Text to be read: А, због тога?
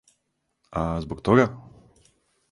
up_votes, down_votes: 4, 0